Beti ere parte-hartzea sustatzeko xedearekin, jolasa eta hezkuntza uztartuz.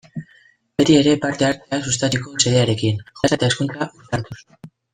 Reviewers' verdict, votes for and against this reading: rejected, 0, 2